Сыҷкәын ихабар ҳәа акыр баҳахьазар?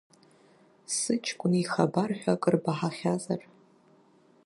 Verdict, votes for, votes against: accepted, 2, 1